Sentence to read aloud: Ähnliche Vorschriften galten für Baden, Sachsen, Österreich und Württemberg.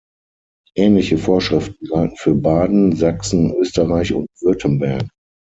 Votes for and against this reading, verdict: 0, 6, rejected